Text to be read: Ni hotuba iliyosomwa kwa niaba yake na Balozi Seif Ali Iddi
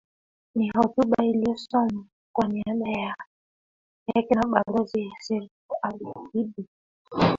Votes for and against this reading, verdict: 0, 3, rejected